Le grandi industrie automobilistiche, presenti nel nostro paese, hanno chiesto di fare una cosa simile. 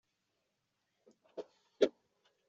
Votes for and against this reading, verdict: 0, 2, rejected